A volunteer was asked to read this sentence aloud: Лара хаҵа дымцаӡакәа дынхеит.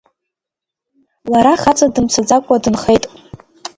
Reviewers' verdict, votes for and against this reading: accepted, 2, 1